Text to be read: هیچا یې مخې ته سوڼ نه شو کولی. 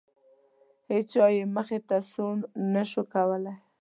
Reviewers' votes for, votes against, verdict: 2, 0, accepted